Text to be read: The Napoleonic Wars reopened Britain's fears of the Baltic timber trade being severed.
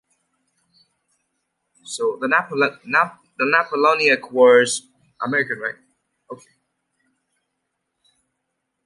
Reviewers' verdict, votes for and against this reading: rejected, 0, 2